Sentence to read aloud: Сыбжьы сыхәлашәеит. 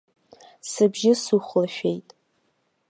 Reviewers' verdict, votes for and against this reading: accepted, 2, 0